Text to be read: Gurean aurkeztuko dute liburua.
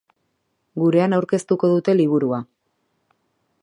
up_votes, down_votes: 2, 0